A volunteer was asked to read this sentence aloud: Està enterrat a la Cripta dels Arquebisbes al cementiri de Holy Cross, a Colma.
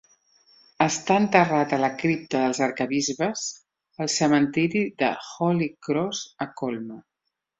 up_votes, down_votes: 4, 0